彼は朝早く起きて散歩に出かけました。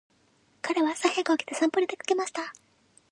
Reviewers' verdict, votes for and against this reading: accepted, 2, 0